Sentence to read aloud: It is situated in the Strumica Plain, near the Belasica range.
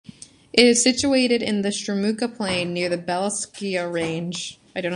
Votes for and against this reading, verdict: 0, 2, rejected